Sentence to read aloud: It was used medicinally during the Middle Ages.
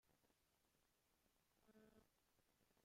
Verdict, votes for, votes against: rejected, 0, 2